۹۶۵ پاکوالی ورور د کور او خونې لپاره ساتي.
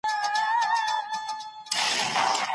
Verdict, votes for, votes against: rejected, 0, 2